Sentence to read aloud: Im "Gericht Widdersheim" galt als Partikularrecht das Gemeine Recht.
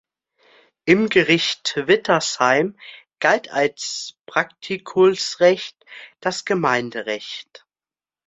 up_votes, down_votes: 0, 2